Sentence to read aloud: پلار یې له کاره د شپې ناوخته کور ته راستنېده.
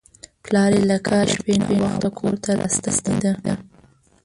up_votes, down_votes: 0, 2